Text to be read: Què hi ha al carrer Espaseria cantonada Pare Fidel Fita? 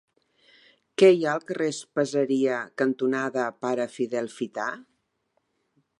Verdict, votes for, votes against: accepted, 2, 1